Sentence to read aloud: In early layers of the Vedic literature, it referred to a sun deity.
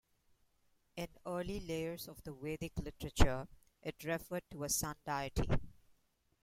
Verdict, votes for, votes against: accepted, 2, 0